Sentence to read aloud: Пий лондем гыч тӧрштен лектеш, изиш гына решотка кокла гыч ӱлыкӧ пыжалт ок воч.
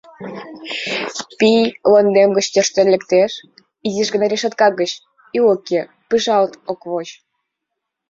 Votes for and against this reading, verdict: 2, 1, accepted